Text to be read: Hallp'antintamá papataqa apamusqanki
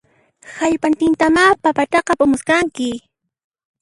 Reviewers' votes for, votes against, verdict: 0, 2, rejected